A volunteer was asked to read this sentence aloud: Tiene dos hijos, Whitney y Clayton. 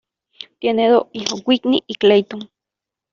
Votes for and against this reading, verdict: 1, 2, rejected